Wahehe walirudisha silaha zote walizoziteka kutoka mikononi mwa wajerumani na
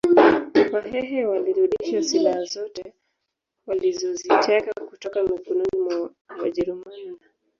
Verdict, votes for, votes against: rejected, 2, 3